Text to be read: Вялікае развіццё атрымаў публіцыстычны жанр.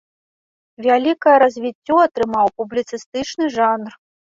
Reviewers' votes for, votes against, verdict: 2, 0, accepted